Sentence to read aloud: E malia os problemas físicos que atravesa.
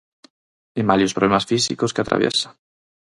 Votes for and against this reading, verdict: 0, 4, rejected